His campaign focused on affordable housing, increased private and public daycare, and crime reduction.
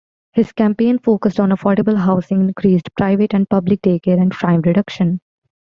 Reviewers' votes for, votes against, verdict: 2, 1, accepted